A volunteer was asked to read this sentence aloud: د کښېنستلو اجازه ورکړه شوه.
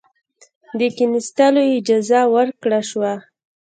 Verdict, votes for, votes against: rejected, 1, 2